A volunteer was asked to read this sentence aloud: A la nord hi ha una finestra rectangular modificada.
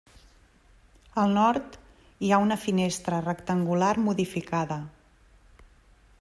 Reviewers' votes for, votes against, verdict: 0, 2, rejected